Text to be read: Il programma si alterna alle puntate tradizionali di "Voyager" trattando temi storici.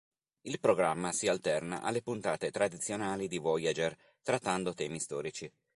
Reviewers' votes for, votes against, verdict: 3, 0, accepted